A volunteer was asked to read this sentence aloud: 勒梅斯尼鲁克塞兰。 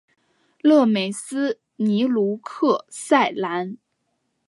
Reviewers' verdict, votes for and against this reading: accepted, 3, 0